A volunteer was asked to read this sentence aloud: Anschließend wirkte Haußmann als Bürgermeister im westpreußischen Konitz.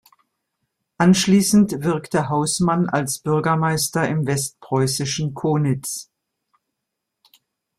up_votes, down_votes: 2, 0